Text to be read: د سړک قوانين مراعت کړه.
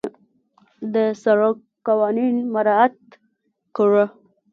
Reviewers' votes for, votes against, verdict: 0, 2, rejected